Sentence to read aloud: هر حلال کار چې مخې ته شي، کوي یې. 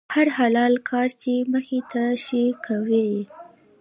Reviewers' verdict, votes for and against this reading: rejected, 1, 2